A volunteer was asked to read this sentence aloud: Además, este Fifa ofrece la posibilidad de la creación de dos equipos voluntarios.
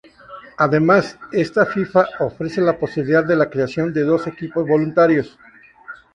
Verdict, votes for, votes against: rejected, 0, 2